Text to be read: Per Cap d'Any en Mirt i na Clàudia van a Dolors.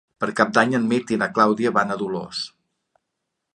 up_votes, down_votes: 3, 0